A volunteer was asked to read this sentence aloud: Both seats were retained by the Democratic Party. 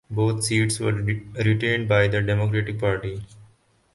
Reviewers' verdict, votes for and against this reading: rejected, 0, 4